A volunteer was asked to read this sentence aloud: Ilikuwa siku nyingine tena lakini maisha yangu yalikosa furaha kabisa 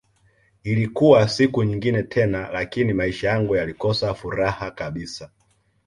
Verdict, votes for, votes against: accepted, 2, 0